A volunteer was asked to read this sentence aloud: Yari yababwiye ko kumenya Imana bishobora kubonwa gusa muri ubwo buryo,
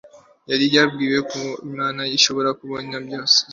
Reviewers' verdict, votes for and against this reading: accepted, 2, 0